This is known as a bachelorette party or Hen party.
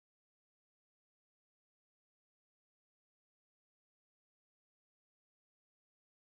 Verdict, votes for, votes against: rejected, 0, 4